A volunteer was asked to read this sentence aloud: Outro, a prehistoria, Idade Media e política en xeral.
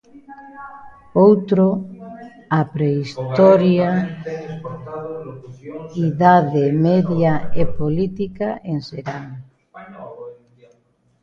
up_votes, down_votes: 0, 2